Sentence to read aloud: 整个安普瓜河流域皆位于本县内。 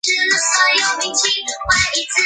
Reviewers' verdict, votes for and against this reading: rejected, 0, 2